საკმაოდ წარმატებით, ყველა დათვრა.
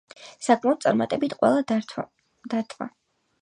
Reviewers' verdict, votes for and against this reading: rejected, 0, 4